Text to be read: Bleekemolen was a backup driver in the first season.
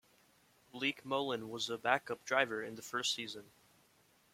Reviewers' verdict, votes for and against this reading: rejected, 0, 2